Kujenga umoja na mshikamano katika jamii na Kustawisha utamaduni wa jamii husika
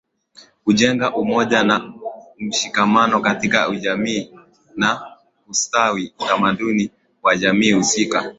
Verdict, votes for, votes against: accepted, 16, 3